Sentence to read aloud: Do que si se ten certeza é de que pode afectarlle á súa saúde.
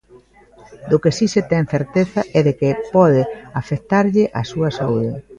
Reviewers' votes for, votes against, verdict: 2, 0, accepted